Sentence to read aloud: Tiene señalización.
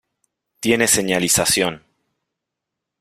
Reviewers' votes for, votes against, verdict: 2, 0, accepted